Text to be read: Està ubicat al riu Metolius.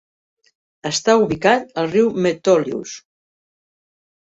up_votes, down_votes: 3, 0